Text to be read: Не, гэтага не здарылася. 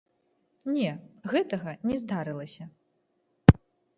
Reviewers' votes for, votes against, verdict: 2, 1, accepted